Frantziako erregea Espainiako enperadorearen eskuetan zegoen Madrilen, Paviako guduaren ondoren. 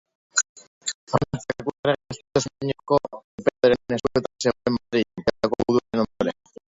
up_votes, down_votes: 0, 2